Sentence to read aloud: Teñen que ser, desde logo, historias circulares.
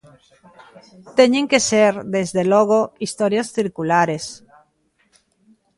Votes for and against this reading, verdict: 2, 1, accepted